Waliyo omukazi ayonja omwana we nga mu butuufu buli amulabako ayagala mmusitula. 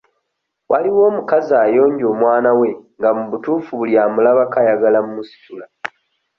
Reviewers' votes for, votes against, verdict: 0, 2, rejected